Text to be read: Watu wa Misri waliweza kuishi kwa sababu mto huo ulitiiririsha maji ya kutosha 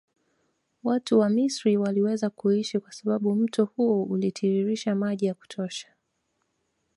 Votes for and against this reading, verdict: 2, 0, accepted